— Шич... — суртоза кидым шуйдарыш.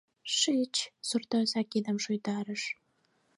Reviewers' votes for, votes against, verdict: 4, 0, accepted